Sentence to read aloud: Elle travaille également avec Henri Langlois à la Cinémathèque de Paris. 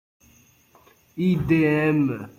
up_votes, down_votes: 0, 2